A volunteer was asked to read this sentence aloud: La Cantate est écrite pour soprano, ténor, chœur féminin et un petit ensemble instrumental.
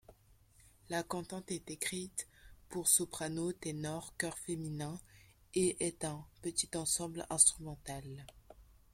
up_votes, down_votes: 0, 2